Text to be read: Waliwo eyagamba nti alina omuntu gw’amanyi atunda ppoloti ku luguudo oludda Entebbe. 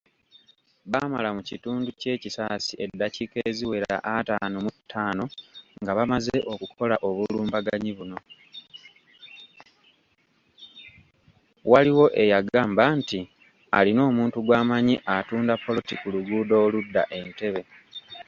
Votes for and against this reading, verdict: 1, 2, rejected